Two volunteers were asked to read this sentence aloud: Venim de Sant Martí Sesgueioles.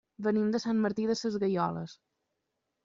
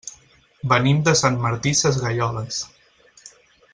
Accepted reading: second